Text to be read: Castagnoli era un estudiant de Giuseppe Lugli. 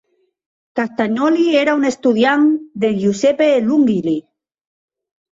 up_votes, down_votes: 0, 2